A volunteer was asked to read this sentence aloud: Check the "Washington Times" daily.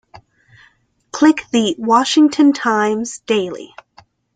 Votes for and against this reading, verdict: 0, 2, rejected